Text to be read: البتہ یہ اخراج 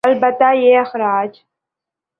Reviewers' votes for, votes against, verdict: 3, 0, accepted